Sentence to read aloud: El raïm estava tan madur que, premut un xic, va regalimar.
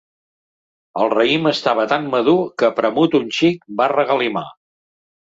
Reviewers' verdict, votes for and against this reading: accepted, 2, 0